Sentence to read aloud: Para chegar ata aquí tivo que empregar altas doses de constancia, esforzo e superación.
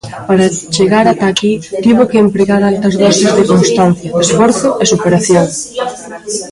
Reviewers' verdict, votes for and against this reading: rejected, 0, 2